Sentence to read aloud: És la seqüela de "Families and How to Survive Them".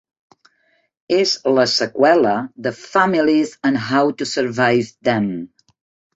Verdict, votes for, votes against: accepted, 3, 0